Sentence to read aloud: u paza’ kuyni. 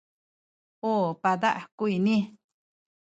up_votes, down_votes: 1, 2